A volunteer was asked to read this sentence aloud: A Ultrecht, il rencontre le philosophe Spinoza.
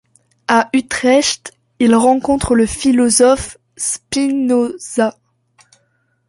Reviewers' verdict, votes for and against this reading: rejected, 1, 2